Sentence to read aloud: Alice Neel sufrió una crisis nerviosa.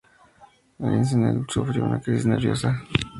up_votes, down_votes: 4, 2